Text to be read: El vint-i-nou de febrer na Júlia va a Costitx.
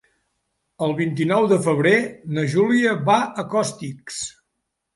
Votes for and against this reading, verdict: 1, 2, rejected